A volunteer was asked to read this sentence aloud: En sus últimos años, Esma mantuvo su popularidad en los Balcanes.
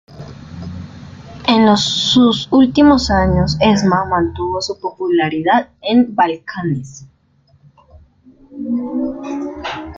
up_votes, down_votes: 0, 2